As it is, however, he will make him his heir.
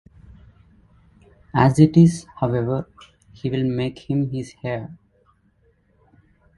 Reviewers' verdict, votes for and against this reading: accepted, 2, 0